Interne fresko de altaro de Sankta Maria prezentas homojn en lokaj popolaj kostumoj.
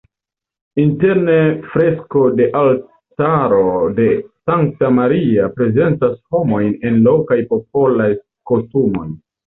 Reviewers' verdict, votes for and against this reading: accepted, 2, 1